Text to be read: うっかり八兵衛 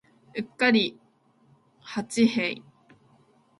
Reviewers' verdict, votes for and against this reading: accepted, 2, 0